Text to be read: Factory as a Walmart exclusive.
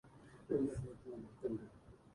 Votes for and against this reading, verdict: 0, 2, rejected